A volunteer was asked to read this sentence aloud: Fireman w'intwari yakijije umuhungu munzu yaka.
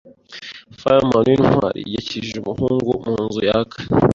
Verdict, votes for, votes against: rejected, 0, 2